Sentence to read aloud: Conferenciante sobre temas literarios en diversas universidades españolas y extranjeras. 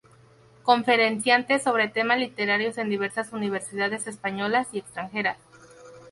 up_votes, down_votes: 0, 2